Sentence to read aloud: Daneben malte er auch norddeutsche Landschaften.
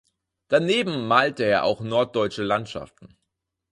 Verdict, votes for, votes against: accepted, 6, 0